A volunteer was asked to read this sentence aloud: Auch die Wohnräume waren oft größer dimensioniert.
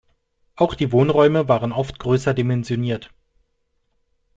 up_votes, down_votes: 2, 0